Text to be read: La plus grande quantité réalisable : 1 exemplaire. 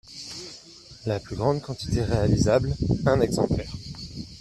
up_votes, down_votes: 0, 2